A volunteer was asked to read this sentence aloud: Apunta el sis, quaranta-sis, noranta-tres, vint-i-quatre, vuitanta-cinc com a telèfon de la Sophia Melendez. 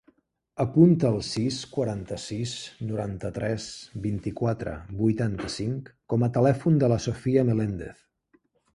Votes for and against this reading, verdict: 2, 0, accepted